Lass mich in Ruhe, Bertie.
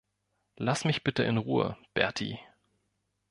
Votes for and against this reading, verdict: 0, 2, rejected